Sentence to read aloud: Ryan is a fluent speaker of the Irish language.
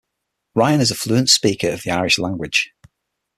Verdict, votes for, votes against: accepted, 6, 0